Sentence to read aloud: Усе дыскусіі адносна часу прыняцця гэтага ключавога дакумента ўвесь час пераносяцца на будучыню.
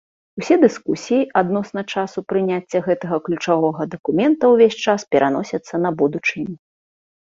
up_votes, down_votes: 2, 0